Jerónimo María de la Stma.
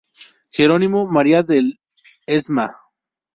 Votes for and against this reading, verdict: 0, 2, rejected